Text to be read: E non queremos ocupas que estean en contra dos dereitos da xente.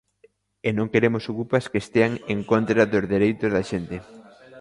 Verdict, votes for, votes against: rejected, 1, 2